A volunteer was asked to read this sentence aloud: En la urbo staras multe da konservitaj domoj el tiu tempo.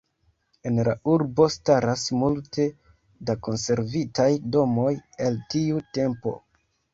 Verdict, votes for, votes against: accepted, 2, 1